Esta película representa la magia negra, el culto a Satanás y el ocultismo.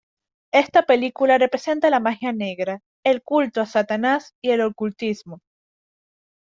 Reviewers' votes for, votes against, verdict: 2, 0, accepted